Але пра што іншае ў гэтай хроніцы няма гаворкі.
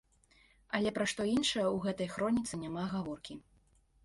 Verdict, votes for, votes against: accepted, 2, 0